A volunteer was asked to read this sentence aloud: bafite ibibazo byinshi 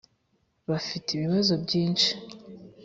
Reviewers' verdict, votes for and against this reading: accepted, 3, 0